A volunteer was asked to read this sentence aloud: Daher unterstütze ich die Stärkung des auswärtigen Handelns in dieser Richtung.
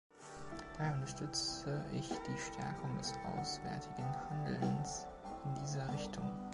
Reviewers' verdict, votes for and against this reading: accepted, 2, 1